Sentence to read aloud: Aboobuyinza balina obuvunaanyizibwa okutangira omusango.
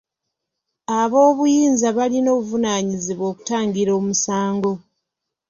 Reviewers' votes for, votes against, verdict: 2, 0, accepted